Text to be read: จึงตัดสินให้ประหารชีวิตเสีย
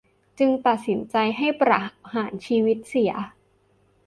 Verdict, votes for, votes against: rejected, 1, 3